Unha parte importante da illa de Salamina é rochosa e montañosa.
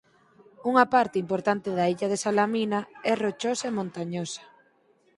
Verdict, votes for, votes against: accepted, 4, 0